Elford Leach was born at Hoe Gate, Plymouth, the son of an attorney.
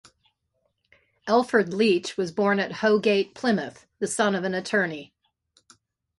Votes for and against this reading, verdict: 2, 0, accepted